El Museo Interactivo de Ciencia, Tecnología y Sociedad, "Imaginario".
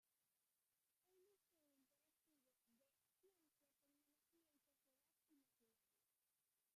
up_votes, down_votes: 0, 2